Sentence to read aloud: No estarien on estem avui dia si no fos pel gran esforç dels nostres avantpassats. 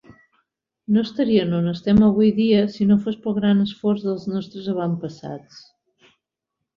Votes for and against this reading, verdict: 2, 0, accepted